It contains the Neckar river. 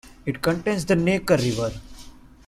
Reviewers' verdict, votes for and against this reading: accepted, 2, 1